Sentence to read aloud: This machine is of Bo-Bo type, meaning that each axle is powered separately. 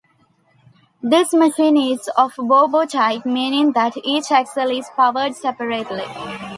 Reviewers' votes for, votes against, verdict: 2, 0, accepted